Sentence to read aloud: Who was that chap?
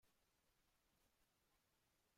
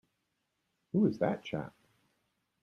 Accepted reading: second